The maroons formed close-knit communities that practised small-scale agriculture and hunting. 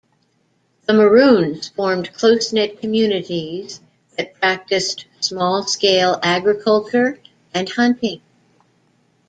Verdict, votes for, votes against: rejected, 1, 2